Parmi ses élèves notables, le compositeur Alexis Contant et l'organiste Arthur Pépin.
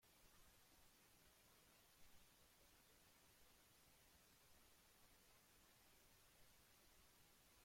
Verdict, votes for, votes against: rejected, 0, 2